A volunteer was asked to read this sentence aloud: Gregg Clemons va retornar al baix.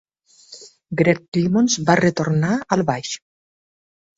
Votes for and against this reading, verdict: 2, 0, accepted